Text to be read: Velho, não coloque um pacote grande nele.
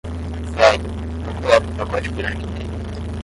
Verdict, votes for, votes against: rejected, 0, 5